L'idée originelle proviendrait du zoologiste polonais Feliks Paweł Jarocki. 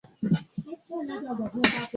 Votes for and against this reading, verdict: 0, 2, rejected